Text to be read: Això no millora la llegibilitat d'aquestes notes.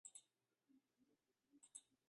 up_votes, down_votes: 0, 3